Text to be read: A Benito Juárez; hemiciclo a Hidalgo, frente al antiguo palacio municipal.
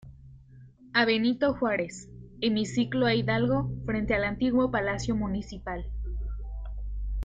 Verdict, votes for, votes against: accepted, 2, 1